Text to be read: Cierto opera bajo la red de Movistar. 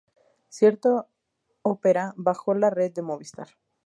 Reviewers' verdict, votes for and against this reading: rejected, 0, 2